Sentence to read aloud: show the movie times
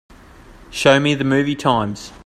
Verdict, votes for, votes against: rejected, 0, 3